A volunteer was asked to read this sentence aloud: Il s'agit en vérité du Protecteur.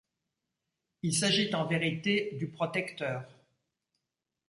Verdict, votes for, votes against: rejected, 0, 2